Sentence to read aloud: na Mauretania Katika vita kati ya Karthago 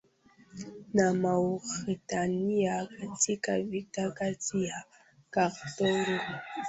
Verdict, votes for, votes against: rejected, 0, 2